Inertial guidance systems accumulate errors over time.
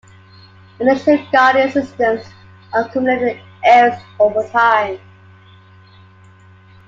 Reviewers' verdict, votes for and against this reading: rejected, 1, 2